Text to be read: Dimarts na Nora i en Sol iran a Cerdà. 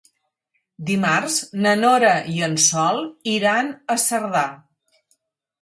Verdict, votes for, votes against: accepted, 6, 0